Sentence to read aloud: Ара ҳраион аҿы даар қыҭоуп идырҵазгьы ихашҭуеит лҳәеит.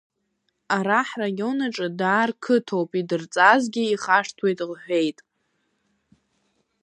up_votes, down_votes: 2, 0